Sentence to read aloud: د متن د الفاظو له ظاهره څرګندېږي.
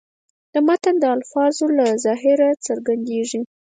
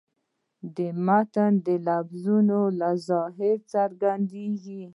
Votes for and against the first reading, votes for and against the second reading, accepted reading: 4, 0, 1, 2, first